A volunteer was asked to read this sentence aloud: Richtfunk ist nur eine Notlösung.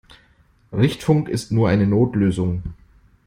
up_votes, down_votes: 2, 0